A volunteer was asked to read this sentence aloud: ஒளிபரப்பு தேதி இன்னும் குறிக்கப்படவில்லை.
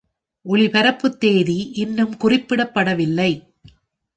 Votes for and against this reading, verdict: 2, 3, rejected